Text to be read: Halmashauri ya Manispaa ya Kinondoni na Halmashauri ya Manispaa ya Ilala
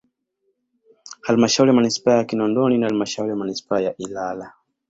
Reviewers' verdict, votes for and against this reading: accepted, 2, 0